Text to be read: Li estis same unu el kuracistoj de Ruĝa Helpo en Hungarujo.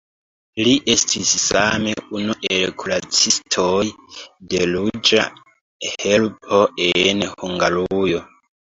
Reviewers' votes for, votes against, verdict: 0, 2, rejected